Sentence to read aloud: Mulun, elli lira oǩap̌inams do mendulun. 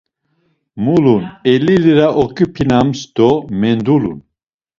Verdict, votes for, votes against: rejected, 0, 2